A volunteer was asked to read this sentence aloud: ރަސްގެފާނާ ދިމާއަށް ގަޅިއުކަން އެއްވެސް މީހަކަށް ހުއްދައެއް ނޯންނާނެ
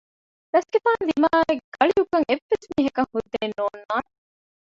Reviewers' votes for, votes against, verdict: 0, 2, rejected